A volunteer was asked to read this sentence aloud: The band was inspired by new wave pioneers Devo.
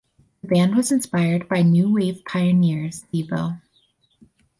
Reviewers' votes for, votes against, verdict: 2, 2, rejected